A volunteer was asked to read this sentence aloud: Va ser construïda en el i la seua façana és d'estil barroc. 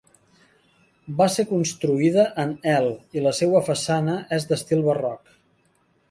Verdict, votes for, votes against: accepted, 3, 1